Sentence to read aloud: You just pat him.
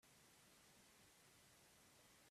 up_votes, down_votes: 0, 3